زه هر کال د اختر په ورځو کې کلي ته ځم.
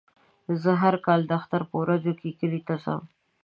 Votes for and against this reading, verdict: 2, 0, accepted